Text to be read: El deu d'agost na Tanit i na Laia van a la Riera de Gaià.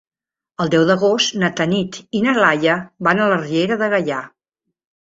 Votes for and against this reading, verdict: 3, 0, accepted